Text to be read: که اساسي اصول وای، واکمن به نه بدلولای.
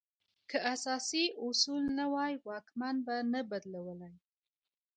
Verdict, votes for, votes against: rejected, 1, 2